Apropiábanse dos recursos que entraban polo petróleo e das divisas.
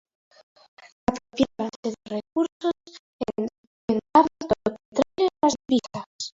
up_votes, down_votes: 0, 2